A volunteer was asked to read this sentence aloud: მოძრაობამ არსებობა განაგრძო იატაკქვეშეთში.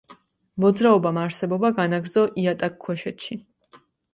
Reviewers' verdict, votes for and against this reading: accepted, 2, 0